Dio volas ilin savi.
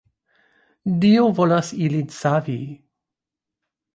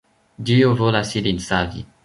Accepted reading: first